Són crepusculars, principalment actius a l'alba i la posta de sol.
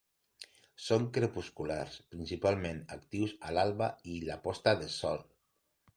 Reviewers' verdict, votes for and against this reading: accepted, 2, 0